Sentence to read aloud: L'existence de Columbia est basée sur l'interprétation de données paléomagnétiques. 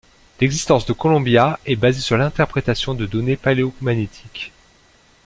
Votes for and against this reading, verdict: 0, 3, rejected